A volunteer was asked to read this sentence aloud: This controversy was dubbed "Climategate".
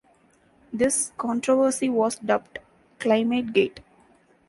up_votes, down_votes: 2, 0